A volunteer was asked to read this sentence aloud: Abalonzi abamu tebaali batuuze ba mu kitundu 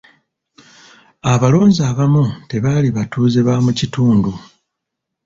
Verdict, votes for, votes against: rejected, 1, 2